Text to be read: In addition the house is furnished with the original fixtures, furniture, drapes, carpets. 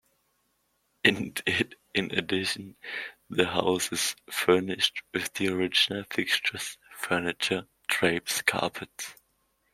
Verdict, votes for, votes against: rejected, 0, 2